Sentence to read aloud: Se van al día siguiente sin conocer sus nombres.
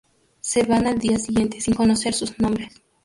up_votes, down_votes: 0, 2